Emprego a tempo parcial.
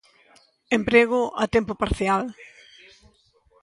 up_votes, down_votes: 2, 0